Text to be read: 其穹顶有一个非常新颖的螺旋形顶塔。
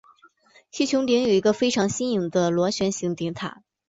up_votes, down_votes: 5, 1